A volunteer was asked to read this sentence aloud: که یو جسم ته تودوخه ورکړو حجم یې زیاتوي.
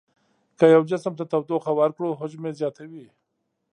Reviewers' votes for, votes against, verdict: 2, 0, accepted